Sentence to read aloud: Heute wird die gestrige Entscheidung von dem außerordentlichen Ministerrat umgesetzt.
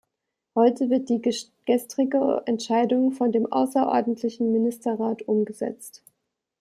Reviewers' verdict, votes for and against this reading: rejected, 0, 2